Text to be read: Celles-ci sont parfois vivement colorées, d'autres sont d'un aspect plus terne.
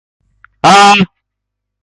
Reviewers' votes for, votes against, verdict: 0, 2, rejected